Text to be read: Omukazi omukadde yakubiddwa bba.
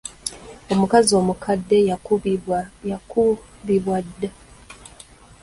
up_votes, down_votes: 0, 2